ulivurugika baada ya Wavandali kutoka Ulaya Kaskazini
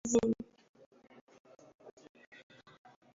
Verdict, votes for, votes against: rejected, 0, 2